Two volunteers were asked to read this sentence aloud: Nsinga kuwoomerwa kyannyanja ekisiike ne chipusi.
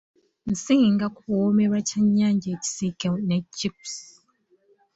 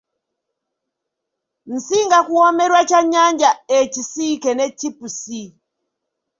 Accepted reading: second